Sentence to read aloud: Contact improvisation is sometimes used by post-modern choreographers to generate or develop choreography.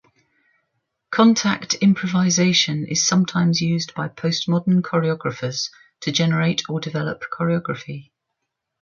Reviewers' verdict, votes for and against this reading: accepted, 2, 0